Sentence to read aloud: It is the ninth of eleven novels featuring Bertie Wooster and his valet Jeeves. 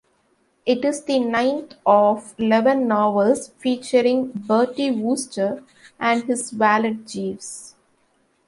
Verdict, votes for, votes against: rejected, 1, 2